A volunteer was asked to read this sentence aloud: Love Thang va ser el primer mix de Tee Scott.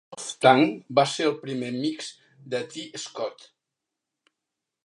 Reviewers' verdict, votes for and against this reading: rejected, 0, 2